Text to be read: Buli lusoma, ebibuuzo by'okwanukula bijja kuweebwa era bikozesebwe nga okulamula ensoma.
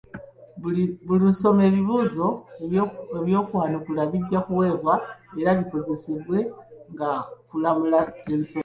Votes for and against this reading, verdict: 0, 3, rejected